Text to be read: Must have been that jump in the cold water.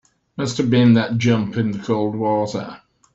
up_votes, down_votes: 2, 0